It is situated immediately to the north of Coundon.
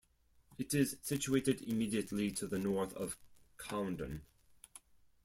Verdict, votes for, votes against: accepted, 4, 0